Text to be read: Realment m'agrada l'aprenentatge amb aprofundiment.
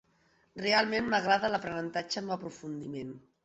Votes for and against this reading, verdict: 3, 0, accepted